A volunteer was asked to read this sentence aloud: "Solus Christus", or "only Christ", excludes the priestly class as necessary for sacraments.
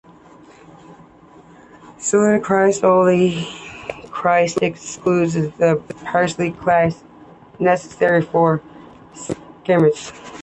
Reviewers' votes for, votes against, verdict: 1, 2, rejected